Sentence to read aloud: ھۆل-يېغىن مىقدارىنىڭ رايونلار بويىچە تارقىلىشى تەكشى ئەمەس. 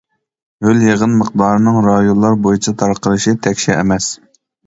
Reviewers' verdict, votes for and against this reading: accepted, 2, 0